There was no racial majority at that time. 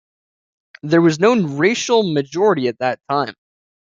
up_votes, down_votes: 2, 0